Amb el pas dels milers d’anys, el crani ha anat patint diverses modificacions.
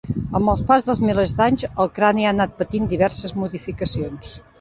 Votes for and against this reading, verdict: 0, 2, rejected